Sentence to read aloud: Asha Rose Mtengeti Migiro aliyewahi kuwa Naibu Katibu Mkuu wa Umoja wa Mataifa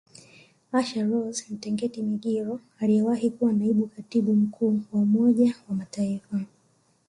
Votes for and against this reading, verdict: 2, 1, accepted